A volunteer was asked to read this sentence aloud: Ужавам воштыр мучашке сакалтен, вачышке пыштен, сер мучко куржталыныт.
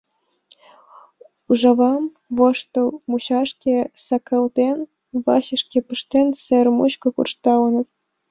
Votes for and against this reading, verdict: 1, 2, rejected